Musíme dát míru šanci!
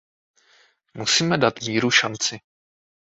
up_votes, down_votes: 2, 0